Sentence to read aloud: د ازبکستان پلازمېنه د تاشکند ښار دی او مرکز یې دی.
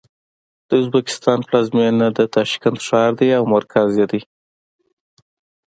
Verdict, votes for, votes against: accepted, 2, 0